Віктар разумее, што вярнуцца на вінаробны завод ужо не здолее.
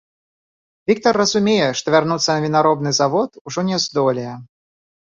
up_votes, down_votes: 0, 2